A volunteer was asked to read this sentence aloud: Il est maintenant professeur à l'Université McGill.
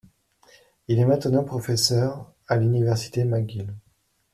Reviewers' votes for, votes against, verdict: 2, 0, accepted